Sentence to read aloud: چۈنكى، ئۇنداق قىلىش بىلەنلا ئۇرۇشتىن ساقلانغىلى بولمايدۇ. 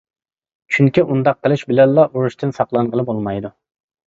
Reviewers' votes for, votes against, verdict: 2, 0, accepted